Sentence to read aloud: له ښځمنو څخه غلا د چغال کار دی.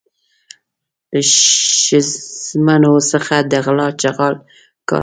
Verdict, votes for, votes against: rejected, 0, 2